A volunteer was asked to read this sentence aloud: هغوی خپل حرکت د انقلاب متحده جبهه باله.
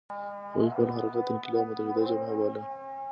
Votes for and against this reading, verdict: 2, 0, accepted